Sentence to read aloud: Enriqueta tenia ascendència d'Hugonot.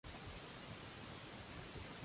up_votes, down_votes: 0, 2